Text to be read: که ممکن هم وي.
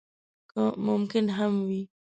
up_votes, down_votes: 2, 0